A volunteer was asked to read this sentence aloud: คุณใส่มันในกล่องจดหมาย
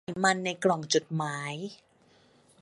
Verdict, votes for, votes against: rejected, 0, 3